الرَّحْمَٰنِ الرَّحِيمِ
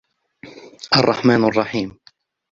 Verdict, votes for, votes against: accepted, 3, 2